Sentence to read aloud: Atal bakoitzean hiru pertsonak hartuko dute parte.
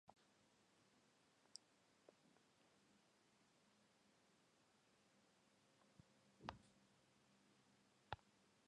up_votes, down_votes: 0, 2